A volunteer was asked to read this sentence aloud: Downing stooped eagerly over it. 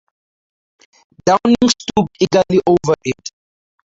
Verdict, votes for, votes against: rejected, 0, 4